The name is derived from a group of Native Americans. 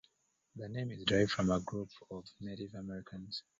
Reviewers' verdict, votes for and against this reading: rejected, 1, 3